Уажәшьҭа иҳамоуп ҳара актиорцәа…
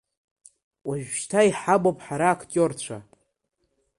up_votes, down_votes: 0, 2